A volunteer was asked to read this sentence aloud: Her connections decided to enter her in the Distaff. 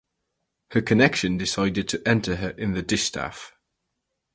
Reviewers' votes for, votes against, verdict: 0, 4, rejected